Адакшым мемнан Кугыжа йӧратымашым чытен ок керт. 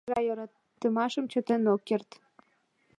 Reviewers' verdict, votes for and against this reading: rejected, 1, 2